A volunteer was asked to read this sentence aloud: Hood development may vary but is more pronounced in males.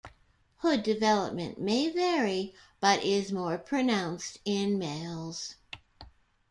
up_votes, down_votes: 2, 0